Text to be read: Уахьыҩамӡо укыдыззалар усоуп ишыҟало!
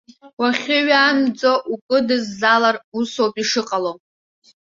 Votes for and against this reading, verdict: 0, 2, rejected